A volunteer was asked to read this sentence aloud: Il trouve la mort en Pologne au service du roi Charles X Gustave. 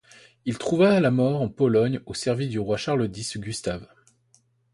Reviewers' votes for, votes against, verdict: 2, 0, accepted